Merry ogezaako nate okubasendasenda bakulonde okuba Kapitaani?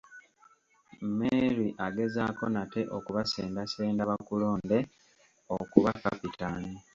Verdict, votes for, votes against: rejected, 0, 2